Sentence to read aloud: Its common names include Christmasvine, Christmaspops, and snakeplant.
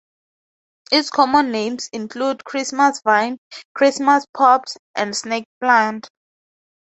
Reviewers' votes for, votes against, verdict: 2, 0, accepted